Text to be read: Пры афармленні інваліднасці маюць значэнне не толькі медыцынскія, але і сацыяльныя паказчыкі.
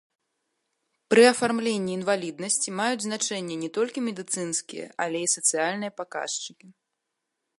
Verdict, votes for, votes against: accepted, 2, 0